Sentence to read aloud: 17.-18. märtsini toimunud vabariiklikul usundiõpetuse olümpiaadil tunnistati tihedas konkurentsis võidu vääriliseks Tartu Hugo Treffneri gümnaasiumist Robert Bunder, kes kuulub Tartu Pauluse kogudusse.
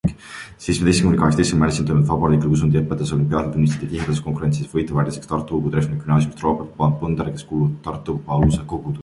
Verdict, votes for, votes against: rejected, 0, 2